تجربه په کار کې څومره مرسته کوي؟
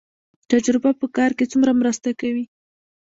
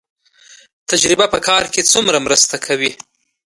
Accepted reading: second